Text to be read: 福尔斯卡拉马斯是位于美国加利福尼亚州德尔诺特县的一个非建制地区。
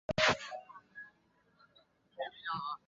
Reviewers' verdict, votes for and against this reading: rejected, 0, 5